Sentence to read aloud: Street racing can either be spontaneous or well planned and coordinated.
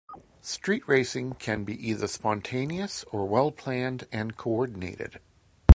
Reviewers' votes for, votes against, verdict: 0, 2, rejected